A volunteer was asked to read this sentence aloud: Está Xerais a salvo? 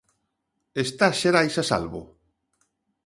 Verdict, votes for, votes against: accepted, 2, 0